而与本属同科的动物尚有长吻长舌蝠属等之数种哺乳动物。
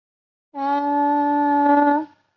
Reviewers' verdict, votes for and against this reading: rejected, 0, 2